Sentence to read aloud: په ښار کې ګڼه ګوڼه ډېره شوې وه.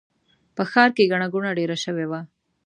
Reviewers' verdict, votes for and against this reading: accepted, 2, 0